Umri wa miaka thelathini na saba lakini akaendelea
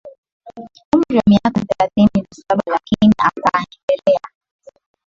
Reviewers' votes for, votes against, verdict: 0, 2, rejected